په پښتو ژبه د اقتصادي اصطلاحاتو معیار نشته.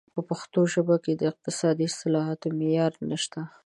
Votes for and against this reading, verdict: 1, 2, rejected